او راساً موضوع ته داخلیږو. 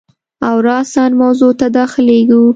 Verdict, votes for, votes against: accepted, 2, 0